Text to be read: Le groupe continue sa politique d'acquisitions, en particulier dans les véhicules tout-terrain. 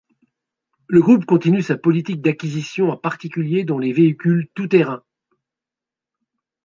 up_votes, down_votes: 2, 0